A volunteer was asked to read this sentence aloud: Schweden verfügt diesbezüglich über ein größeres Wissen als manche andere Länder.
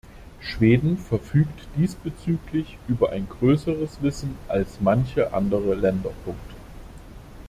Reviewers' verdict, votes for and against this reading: rejected, 1, 2